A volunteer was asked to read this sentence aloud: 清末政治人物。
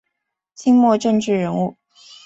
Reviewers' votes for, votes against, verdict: 5, 0, accepted